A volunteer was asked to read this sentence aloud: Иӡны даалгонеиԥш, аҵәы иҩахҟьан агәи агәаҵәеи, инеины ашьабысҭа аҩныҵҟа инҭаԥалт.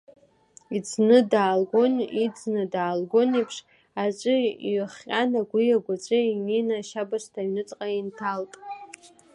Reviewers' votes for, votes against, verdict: 1, 2, rejected